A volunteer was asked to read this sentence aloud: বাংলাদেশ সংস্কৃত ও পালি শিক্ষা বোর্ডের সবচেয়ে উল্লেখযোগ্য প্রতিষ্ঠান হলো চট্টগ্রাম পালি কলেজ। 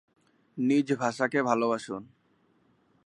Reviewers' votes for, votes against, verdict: 0, 7, rejected